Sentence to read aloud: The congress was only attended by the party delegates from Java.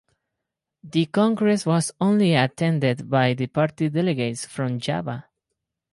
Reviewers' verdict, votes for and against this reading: accepted, 4, 0